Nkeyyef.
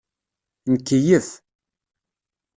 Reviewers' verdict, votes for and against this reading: accepted, 2, 0